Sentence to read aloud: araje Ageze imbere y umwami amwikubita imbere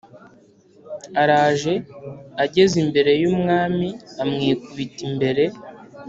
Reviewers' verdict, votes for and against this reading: accepted, 3, 0